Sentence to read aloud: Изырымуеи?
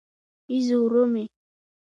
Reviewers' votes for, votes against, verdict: 0, 2, rejected